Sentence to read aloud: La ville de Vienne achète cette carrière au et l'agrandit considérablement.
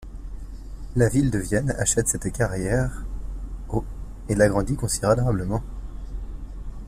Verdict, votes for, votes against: rejected, 1, 2